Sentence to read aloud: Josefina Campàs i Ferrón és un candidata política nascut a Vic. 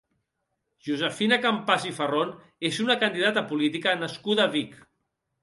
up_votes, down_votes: 1, 2